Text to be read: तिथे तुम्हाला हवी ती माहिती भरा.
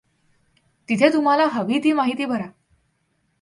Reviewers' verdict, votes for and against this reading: accepted, 2, 0